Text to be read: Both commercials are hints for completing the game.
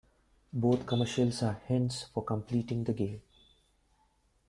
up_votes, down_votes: 1, 2